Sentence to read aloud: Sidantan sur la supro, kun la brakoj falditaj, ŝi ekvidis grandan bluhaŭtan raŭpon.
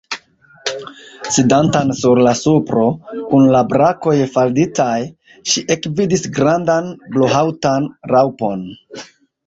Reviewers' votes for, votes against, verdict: 1, 2, rejected